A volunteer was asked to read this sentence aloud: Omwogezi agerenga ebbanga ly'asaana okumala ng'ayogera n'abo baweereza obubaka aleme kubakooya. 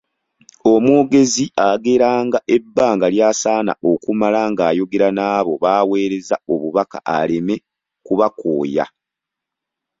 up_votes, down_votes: 2, 1